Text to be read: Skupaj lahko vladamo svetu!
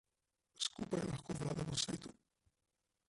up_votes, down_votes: 0, 2